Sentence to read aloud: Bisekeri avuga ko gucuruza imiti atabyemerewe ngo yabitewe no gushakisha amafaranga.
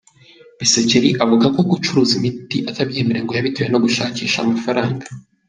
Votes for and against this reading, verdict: 2, 0, accepted